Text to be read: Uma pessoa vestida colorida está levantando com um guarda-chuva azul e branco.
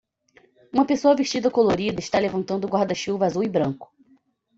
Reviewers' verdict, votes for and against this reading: rejected, 0, 2